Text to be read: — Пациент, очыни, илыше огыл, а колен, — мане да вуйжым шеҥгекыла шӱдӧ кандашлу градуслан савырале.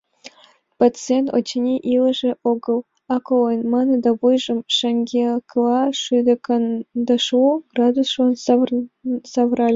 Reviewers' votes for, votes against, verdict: 1, 3, rejected